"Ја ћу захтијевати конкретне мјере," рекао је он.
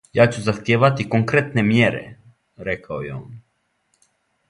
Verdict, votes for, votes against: accepted, 2, 0